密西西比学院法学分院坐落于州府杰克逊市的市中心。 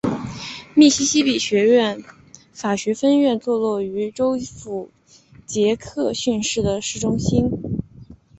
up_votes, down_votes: 4, 0